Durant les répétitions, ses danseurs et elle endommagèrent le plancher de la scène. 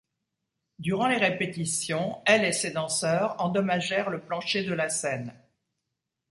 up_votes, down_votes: 0, 2